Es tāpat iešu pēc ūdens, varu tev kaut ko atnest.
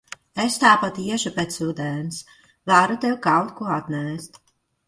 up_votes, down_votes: 1, 2